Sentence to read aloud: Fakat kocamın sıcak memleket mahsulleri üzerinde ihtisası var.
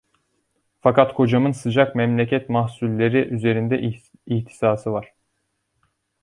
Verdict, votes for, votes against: rejected, 0, 2